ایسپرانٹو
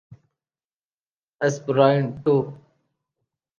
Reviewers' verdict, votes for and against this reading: accepted, 2, 0